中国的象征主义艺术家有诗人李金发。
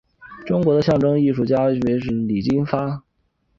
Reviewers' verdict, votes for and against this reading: accepted, 2, 0